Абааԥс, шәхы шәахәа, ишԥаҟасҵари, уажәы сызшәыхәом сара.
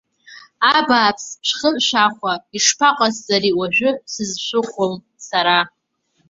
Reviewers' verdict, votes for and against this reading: rejected, 1, 2